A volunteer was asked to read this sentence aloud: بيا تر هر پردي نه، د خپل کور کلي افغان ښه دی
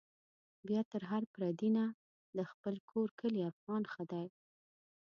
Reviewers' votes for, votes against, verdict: 2, 0, accepted